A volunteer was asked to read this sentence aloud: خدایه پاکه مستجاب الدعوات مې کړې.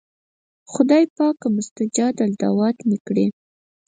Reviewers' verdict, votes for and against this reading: accepted, 4, 0